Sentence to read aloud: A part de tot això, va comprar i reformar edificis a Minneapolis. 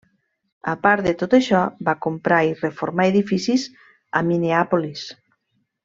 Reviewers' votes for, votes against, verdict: 3, 1, accepted